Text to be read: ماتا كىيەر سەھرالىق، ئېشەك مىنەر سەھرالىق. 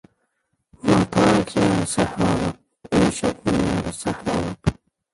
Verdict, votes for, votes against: rejected, 0, 2